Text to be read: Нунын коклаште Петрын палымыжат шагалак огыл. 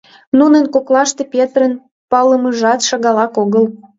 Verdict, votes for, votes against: accepted, 2, 1